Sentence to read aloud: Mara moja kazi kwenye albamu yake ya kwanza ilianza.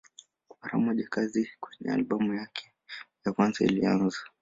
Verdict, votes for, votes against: accepted, 2, 1